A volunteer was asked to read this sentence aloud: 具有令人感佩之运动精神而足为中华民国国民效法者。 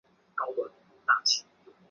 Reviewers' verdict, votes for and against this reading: rejected, 0, 2